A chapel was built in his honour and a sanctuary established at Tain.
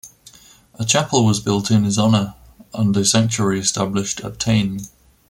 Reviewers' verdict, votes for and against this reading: accepted, 2, 0